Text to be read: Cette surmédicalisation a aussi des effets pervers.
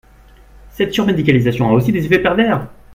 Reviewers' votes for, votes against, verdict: 3, 1, accepted